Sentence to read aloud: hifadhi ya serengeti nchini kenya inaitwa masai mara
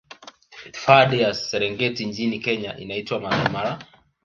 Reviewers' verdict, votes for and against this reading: rejected, 1, 2